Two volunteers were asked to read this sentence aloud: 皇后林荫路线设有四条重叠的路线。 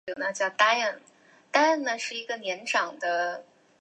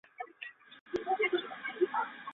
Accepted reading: second